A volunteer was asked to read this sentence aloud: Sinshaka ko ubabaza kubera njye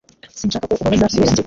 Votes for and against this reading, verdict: 1, 2, rejected